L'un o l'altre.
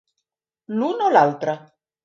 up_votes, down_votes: 3, 0